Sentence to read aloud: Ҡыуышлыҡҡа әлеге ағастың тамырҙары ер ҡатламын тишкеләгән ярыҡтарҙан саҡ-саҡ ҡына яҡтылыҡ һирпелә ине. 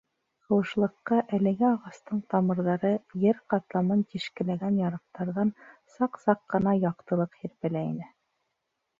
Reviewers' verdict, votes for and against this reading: rejected, 1, 2